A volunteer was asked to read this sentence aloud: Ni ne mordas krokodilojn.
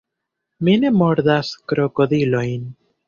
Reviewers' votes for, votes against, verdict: 1, 2, rejected